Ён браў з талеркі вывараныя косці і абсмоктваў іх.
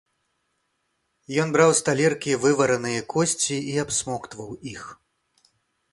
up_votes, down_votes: 2, 0